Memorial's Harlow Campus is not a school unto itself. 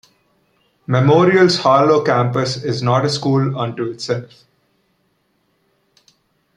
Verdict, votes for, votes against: rejected, 1, 2